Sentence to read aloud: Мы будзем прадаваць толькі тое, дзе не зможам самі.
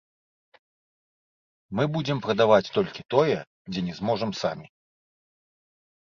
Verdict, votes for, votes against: rejected, 1, 2